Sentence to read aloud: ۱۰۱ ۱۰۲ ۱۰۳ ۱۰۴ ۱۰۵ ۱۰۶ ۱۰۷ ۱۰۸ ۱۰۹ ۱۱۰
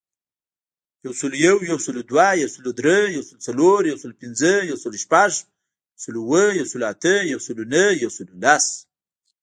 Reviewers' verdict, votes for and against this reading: rejected, 0, 2